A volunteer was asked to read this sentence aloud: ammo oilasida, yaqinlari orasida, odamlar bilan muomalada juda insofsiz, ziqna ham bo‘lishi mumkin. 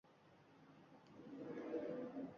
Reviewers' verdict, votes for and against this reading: rejected, 1, 2